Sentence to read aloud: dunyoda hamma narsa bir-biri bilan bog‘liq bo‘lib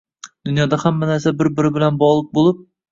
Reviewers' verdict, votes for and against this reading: accepted, 2, 1